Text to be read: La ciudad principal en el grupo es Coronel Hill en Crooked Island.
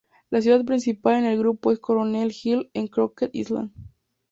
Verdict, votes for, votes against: accepted, 2, 0